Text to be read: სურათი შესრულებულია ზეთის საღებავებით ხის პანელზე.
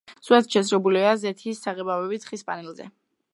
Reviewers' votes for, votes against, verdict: 0, 2, rejected